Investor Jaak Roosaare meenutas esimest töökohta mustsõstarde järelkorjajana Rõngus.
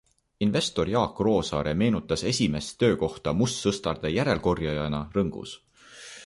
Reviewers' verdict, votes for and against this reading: accepted, 3, 0